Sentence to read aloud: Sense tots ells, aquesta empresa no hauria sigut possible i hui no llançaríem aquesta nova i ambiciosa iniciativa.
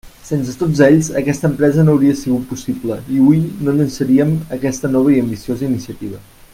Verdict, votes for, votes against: accepted, 2, 0